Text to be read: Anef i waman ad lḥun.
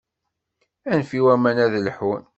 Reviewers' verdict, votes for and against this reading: accepted, 2, 0